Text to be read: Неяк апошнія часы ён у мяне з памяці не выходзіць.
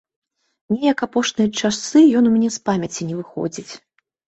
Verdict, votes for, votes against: accepted, 2, 0